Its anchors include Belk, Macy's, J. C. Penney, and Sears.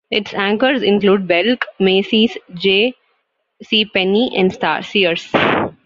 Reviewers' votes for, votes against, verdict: 1, 2, rejected